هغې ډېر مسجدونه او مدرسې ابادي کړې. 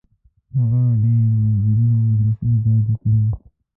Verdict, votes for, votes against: rejected, 1, 2